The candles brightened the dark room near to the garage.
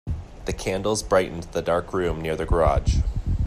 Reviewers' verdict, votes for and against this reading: rejected, 0, 2